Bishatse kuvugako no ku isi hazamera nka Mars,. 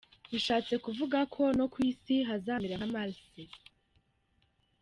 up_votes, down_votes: 2, 1